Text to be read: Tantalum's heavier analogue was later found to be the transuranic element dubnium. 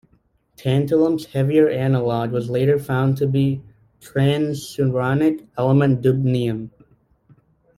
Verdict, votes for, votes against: rejected, 1, 2